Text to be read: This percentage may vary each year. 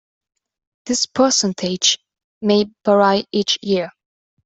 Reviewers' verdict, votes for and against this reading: rejected, 0, 2